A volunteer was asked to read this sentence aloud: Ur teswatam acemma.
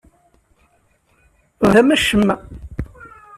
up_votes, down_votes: 0, 2